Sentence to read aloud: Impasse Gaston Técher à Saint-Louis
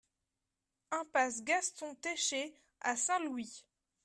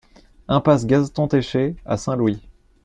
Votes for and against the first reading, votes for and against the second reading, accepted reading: 3, 0, 1, 2, first